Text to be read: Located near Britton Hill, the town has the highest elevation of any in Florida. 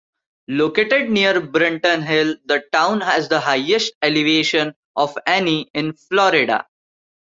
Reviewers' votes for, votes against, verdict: 1, 2, rejected